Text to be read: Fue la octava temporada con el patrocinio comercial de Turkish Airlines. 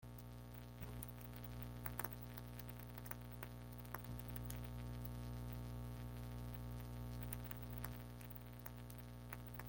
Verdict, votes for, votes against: rejected, 0, 2